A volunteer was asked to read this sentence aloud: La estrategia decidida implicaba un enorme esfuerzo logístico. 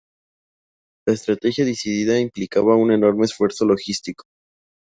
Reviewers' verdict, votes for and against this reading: accepted, 2, 0